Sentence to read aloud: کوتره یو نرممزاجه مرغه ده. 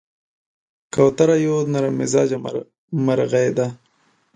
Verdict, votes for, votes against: rejected, 1, 2